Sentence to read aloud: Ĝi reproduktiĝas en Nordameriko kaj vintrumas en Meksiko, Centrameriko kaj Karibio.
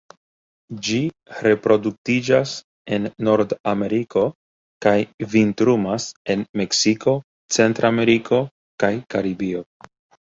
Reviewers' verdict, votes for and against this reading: accepted, 2, 0